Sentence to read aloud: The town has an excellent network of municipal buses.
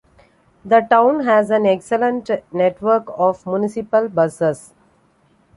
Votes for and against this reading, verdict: 2, 0, accepted